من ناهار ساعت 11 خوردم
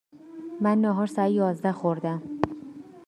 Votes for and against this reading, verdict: 0, 2, rejected